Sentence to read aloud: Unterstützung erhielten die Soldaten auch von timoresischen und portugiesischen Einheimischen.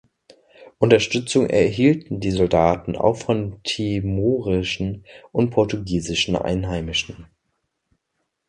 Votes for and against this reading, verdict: 0, 2, rejected